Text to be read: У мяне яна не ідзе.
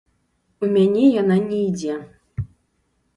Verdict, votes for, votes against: rejected, 0, 3